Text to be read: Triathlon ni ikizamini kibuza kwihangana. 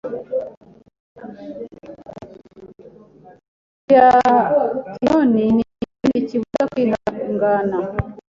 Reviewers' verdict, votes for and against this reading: rejected, 1, 2